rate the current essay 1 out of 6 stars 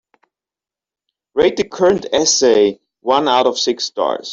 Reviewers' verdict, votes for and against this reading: rejected, 0, 2